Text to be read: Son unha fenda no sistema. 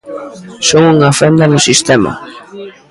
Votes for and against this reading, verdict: 1, 2, rejected